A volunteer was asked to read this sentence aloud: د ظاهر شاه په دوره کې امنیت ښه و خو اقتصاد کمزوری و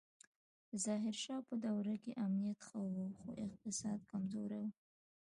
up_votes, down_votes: 2, 1